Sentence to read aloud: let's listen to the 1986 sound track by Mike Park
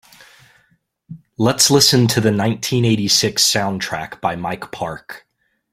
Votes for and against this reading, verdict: 0, 2, rejected